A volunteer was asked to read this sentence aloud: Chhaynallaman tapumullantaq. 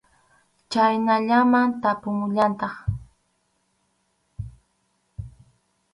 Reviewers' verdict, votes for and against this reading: accepted, 4, 0